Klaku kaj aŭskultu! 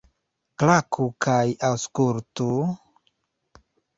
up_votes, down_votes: 0, 2